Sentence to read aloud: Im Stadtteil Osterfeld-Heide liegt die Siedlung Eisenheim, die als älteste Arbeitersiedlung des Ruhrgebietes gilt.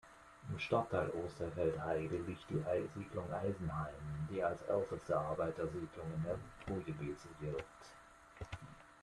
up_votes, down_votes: 0, 2